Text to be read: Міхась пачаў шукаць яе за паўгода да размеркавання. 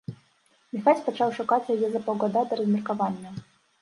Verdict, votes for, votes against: rejected, 0, 2